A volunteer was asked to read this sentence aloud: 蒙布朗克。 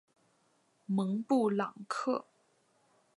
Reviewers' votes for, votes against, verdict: 2, 0, accepted